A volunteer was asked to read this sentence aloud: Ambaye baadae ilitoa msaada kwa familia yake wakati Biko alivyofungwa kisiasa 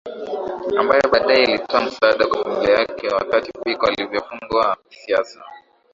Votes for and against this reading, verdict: 2, 0, accepted